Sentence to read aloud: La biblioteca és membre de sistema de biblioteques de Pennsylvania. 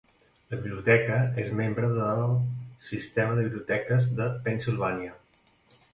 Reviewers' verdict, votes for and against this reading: accepted, 2, 0